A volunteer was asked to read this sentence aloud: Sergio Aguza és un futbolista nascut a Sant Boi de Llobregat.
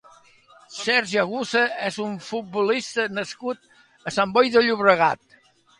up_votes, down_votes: 2, 0